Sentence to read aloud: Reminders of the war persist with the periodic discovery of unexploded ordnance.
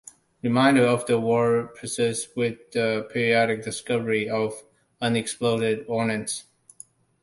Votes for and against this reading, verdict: 1, 2, rejected